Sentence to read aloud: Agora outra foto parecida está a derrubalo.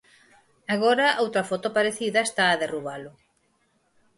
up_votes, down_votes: 6, 2